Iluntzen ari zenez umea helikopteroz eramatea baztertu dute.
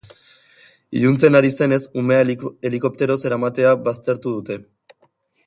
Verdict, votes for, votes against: rejected, 0, 3